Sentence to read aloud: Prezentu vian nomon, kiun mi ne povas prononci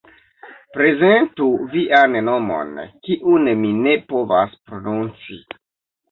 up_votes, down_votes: 2, 0